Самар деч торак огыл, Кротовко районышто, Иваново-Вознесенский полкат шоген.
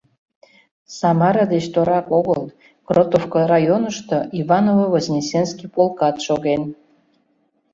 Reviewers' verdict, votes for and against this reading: rejected, 0, 2